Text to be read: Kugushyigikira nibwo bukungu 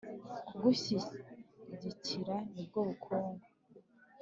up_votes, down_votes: 3, 0